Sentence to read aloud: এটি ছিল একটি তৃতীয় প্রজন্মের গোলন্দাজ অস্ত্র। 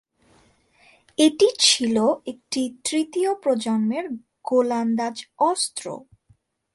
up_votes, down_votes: 5, 6